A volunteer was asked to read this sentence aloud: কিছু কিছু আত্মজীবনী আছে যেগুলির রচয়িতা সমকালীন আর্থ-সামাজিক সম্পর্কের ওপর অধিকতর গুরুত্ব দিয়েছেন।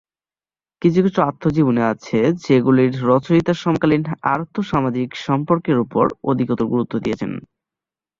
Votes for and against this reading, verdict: 7, 1, accepted